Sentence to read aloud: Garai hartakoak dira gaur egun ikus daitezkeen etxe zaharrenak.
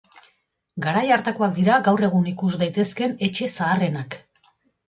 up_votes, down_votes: 2, 0